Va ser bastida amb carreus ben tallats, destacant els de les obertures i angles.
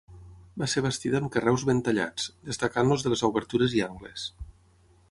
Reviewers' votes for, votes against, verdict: 3, 6, rejected